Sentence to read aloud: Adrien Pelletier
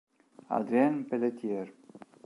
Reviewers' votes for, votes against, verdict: 1, 2, rejected